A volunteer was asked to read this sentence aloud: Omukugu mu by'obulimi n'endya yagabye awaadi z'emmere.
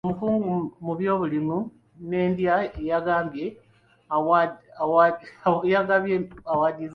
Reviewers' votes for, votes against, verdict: 2, 0, accepted